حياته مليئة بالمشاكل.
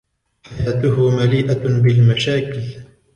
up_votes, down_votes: 1, 2